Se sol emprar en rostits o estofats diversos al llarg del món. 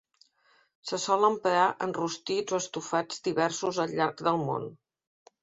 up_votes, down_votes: 2, 0